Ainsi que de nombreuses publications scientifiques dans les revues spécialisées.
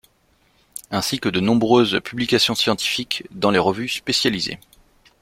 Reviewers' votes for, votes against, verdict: 2, 0, accepted